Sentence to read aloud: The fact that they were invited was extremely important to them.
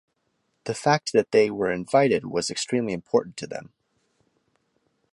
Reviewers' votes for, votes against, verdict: 2, 0, accepted